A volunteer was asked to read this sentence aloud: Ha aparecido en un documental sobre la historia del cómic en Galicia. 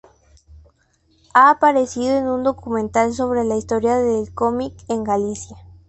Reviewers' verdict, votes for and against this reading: accepted, 2, 0